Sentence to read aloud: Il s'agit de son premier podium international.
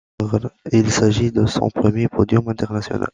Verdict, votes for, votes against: accepted, 2, 0